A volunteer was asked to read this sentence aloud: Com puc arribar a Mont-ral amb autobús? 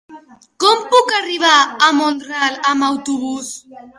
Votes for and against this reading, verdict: 2, 0, accepted